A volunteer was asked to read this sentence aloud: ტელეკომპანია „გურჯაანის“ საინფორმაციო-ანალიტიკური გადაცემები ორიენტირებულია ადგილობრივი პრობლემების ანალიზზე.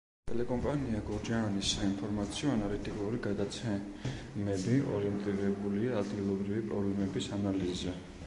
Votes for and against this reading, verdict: 1, 2, rejected